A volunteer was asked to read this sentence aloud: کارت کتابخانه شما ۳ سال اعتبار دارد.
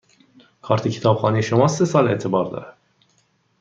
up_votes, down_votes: 0, 2